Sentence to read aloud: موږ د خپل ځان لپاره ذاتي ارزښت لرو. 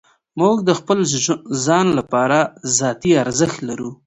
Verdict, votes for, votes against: rejected, 1, 2